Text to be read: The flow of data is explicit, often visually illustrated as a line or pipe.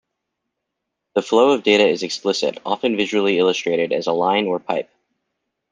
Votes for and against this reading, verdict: 2, 0, accepted